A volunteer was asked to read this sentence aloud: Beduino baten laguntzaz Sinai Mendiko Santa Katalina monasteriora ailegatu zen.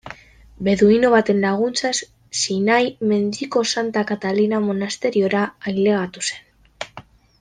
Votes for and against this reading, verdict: 0, 2, rejected